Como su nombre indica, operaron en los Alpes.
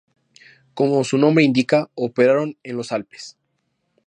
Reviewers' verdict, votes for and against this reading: accepted, 2, 0